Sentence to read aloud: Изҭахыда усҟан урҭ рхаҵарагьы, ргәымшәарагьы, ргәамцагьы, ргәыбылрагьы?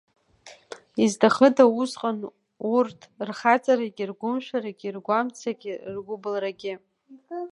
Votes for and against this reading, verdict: 2, 1, accepted